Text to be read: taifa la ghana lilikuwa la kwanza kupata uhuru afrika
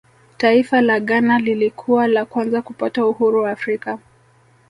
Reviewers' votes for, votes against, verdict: 1, 2, rejected